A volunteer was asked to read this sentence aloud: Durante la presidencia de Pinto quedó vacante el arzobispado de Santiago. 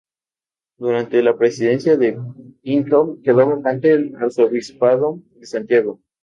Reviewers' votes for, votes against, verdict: 2, 0, accepted